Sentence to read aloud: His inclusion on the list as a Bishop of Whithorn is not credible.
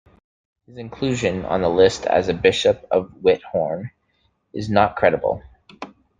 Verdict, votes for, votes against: rejected, 0, 2